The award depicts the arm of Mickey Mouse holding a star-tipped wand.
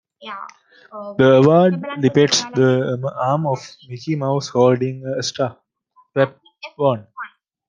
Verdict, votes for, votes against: rejected, 0, 2